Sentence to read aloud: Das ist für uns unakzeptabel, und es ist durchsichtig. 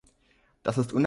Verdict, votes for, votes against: rejected, 0, 3